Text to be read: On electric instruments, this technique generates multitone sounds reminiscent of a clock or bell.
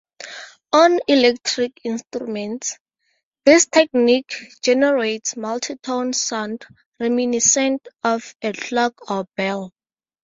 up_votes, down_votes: 2, 2